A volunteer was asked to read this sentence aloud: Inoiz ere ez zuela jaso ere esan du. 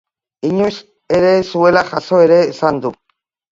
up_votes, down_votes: 2, 0